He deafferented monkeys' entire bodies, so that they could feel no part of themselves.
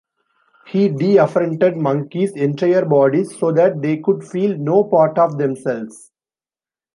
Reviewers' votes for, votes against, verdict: 1, 2, rejected